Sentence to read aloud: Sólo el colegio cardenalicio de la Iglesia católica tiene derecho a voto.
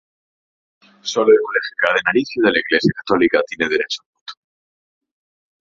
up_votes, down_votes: 0, 2